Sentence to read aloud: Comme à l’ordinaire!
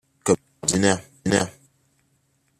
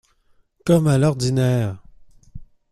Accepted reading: second